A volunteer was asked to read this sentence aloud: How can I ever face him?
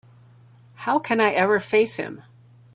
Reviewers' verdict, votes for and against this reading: accepted, 2, 0